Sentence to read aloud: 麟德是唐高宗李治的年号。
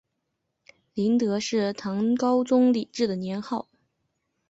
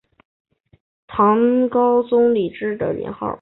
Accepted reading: first